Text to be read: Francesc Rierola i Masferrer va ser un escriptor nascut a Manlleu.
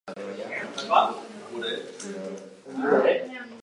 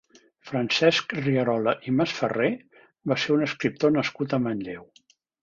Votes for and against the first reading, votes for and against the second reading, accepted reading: 0, 2, 3, 0, second